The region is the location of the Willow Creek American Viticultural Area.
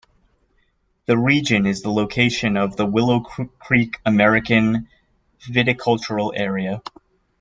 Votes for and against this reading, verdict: 1, 2, rejected